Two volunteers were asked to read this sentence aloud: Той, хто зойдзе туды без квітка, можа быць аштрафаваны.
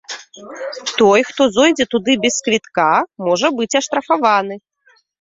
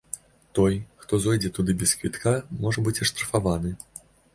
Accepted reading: second